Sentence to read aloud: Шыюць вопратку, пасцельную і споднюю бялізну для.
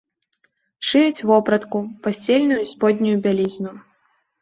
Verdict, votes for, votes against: rejected, 0, 2